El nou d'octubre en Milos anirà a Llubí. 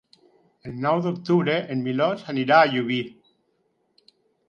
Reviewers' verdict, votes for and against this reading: accepted, 4, 0